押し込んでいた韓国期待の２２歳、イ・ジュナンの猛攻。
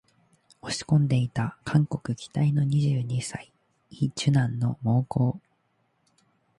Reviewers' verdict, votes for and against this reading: rejected, 0, 2